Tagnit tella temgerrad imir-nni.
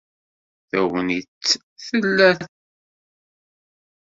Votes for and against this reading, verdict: 0, 2, rejected